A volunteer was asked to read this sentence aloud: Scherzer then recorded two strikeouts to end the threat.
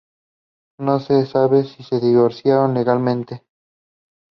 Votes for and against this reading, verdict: 0, 2, rejected